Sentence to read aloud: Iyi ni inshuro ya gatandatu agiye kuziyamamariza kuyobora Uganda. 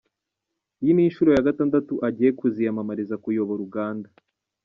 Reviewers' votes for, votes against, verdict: 2, 0, accepted